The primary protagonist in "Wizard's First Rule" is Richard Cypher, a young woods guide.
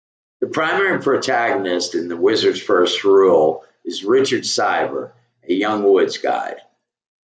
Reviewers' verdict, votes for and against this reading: accepted, 2, 1